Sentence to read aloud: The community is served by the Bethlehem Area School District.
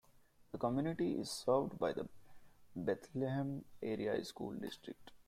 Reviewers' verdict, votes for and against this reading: accepted, 2, 0